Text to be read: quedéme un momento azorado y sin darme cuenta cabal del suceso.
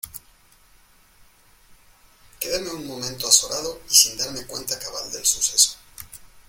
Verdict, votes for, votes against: accepted, 2, 1